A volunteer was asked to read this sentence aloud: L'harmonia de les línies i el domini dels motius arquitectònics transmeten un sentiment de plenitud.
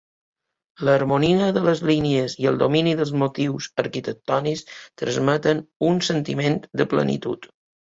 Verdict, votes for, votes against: accepted, 2, 0